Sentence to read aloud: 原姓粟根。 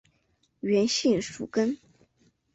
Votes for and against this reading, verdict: 2, 0, accepted